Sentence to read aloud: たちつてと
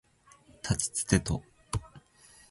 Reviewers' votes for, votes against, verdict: 2, 0, accepted